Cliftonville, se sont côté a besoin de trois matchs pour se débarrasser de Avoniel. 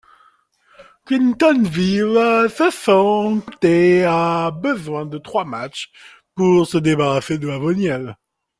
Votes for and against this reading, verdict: 0, 2, rejected